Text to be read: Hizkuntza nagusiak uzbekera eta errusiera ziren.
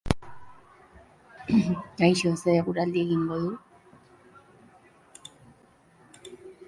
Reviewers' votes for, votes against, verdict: 0, 4, rejected